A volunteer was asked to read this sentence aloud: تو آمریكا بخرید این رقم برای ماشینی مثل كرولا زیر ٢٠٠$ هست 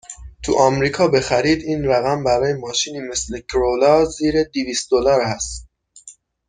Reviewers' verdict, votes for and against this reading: rejected, 0, 2